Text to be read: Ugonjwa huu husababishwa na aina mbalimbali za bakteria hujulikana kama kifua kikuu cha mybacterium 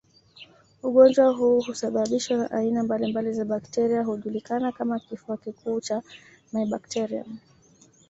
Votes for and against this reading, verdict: 1, 2, rejected